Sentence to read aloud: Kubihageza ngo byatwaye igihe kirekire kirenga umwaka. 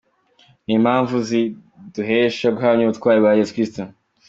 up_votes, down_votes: 0, 2